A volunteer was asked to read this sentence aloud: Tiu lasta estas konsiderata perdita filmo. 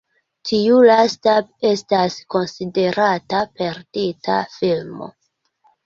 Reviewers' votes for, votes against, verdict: 2, 0, accepted